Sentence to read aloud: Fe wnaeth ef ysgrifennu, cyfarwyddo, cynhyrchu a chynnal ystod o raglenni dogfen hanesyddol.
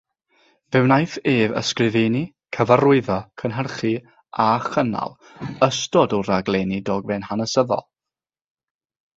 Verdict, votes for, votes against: accepted, 6, 0